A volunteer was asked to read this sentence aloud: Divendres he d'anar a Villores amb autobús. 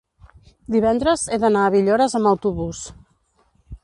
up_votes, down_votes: 2, 0